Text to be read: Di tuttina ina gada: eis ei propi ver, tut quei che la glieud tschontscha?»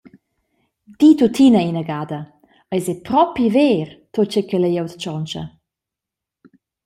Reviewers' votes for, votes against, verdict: 1, 2, rejected